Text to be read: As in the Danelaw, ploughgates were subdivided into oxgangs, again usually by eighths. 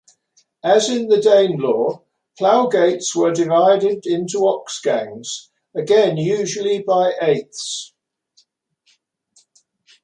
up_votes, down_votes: 1, 2